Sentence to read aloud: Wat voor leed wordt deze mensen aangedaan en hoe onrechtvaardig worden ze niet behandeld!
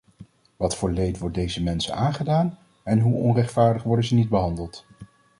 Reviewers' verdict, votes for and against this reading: accepted, 2, 0